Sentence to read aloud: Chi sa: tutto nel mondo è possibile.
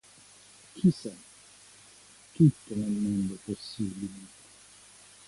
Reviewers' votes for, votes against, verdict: 2, 0, accepted